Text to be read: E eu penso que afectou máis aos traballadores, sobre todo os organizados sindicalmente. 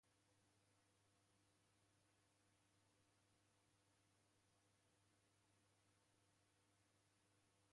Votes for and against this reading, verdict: 0, 2, rejected